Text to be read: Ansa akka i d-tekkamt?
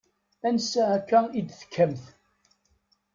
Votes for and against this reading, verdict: 1, 2, rejected